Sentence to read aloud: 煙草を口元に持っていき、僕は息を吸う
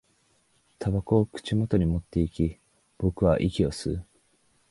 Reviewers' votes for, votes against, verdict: 1, 4, rejected